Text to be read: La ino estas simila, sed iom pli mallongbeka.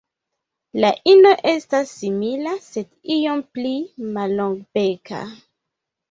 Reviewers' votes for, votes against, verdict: 1, 2, rejected